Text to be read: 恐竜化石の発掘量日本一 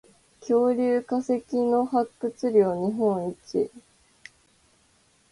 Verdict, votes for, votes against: rejected, 2, 2